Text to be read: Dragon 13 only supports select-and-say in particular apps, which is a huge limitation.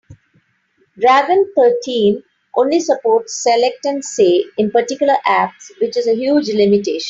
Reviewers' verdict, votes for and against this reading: rejected, 0, 2